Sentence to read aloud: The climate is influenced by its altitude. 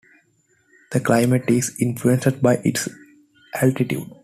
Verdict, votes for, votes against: rejected, 1, 2